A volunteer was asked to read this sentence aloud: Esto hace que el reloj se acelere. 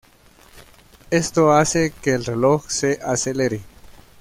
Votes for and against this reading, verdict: 1, 2, rejected